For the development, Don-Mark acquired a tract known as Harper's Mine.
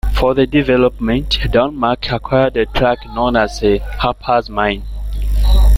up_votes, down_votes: 2, 1